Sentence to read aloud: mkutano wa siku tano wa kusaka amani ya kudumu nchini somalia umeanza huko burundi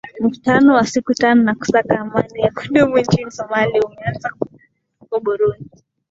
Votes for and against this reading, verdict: 2, 0, accepted